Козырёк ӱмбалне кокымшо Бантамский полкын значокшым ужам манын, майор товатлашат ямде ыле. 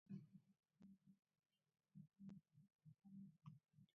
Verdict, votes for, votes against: rejected, 1, 2